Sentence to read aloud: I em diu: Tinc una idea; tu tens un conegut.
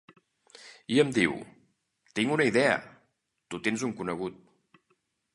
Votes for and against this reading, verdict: 2, 0, accepted